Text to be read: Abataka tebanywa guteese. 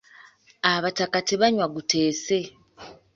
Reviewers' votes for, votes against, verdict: 2, 0, accepted